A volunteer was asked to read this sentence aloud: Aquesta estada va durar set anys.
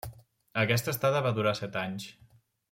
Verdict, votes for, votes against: accepted, 3, 0